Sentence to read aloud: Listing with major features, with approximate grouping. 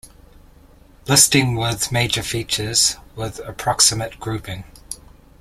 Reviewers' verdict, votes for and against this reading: accepted, 2, 0